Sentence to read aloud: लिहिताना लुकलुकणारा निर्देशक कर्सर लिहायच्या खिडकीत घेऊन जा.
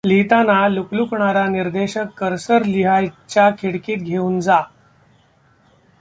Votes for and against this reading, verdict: 1, 2, rejected